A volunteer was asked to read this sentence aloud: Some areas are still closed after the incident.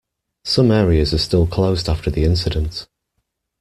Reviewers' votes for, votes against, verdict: 1, 2, rejected